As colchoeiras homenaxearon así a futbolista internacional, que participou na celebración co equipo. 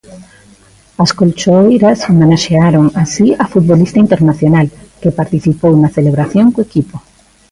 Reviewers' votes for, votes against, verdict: 2, 0, accepted